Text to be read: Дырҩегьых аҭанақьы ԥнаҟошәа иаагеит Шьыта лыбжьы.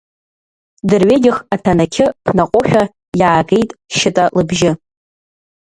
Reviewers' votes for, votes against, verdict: 1, 2, rejected